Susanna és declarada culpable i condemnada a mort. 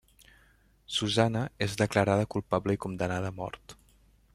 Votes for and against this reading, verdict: 2, 0, accepted